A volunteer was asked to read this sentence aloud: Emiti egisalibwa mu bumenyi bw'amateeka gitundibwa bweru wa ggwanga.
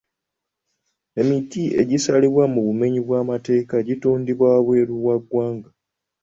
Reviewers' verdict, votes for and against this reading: accepted, 2, 0